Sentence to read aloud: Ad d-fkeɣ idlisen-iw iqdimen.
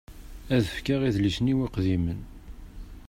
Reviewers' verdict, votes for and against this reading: rejected, 1, 2